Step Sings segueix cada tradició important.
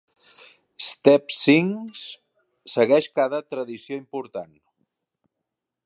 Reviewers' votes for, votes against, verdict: 2, 0, accepted